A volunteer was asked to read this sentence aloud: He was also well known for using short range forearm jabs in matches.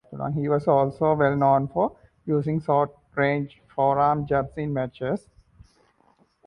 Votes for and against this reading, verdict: 0, 2, rejected